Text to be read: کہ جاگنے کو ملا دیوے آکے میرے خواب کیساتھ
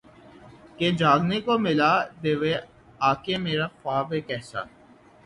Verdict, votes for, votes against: rejected, 0, 6